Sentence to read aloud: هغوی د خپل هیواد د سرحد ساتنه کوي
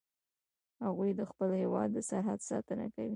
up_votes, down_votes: 2, 0